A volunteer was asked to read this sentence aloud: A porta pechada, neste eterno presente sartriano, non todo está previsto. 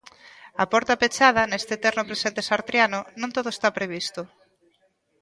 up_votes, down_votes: 1, 2